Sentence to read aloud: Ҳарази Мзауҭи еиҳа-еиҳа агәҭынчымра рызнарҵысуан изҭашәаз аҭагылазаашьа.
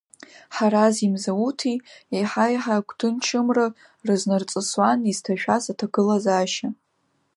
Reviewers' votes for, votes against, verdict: 2, 1, accepted